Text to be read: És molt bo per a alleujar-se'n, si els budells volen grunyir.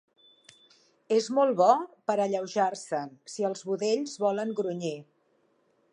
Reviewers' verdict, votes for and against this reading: rejected, 0, 2